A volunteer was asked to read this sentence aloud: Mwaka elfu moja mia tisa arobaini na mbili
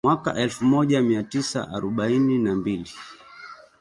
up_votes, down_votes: 3, 2